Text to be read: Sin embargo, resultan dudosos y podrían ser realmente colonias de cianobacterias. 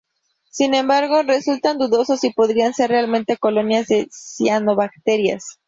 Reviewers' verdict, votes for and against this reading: accepted, 2, 0